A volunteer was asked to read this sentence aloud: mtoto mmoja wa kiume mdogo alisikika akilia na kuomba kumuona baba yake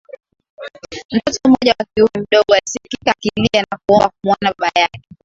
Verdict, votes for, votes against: rejected, 0, 2